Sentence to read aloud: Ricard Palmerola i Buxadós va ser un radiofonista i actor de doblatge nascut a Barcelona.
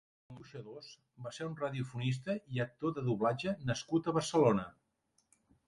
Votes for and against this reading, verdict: 0, 2, rejected